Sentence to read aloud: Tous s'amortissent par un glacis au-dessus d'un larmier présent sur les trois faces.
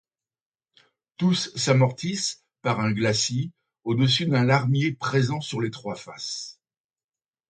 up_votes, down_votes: 2, 0